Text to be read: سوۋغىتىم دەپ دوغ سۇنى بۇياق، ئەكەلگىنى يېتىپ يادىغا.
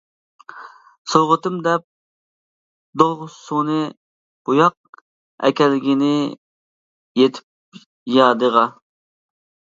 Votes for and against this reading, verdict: 1, 2, rejected